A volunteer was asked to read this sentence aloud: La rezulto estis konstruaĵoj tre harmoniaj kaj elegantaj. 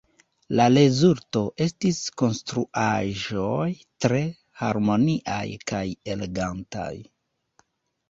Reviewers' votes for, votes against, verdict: 1, 2, rejected